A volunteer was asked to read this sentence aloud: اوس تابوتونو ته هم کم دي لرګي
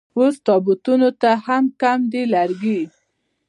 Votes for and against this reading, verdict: 2, 0, accepted